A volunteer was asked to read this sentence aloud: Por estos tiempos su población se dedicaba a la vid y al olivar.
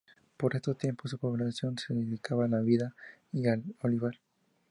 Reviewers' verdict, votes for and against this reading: rejected, 0, 2